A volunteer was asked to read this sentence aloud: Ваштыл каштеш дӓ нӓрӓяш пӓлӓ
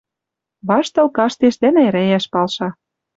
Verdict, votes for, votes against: rejected, 1, 2